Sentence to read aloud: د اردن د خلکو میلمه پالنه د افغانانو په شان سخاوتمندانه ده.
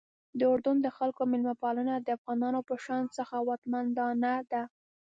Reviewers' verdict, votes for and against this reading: rejected, 1, 2